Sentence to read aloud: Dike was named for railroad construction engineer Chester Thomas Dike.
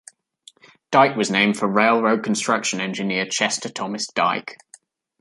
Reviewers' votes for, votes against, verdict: 2, 0, accepted